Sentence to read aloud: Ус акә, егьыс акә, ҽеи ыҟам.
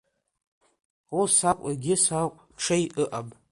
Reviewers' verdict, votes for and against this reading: accepted, 3, 0